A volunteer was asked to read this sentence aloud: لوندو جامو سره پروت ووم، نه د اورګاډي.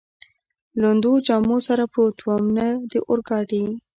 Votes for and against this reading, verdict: 2, 0, accepted